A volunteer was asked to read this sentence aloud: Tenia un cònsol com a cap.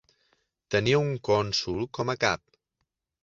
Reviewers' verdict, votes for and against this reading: accepted, 2, 0